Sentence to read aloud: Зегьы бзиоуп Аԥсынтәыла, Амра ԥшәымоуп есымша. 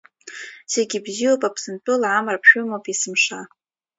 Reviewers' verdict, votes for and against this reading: accepted, 2, 1